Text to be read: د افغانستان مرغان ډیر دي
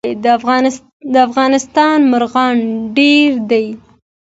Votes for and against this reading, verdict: 2, 1, accepted